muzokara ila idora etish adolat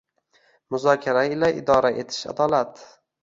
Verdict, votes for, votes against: rejected, 1, 2